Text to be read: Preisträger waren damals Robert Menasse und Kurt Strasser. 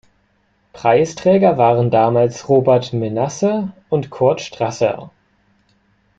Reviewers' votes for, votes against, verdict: 2, 0, accepted